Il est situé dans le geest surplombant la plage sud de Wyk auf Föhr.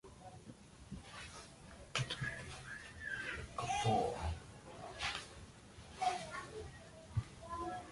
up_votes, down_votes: 0, 2